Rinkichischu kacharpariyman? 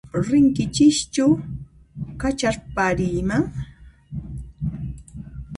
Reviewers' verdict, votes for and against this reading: accepted, 2, 0